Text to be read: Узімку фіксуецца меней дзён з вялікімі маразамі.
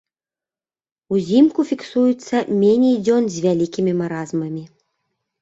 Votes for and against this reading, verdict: 0, 2, rejected